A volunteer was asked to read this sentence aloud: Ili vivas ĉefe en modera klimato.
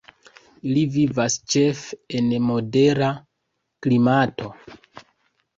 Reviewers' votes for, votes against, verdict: 2, 1, accepted